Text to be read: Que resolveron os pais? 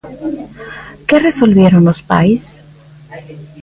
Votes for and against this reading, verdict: 0, 2, rejected